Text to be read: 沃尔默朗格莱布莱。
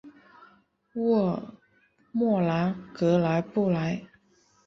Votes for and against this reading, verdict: 3, 0, accepted